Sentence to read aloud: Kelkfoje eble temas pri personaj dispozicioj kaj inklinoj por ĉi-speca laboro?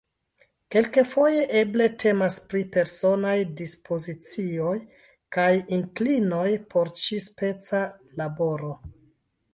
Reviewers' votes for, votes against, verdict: 0, 2, rejected